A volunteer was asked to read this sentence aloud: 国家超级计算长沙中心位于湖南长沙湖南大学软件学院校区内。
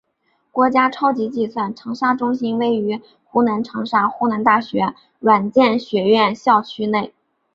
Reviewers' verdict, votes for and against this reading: accepted, 4, 0